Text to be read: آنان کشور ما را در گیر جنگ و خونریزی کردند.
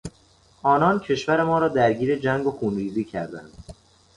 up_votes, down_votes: 2, 0